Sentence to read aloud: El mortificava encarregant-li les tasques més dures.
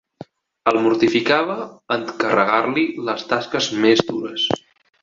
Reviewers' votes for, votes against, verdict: 3, 1, accepted